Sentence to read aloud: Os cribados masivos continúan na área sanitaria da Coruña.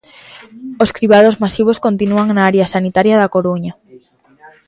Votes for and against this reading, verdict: 3, 1, accepted